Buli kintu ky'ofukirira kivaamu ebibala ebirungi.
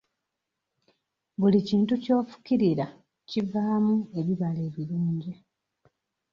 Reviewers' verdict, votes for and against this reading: rejected, 1, 2